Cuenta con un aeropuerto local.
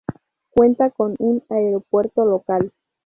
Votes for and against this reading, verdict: 2, 0, accepted